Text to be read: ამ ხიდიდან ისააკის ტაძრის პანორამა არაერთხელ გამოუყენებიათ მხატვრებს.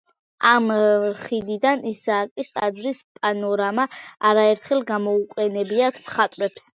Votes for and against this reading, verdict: 1, 2, rejected